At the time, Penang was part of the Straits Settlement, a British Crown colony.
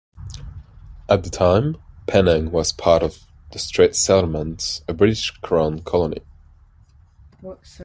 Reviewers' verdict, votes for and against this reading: accepted, 2, 0